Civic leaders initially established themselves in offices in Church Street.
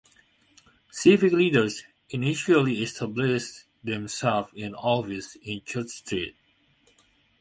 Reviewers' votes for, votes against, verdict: 1, 2, rejected